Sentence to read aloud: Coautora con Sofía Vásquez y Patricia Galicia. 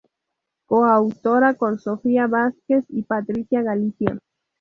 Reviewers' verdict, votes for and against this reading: accepted, 2, 0